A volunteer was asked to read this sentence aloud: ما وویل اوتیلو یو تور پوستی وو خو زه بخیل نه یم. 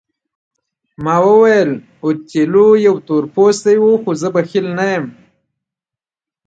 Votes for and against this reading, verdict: 2, 1, accepted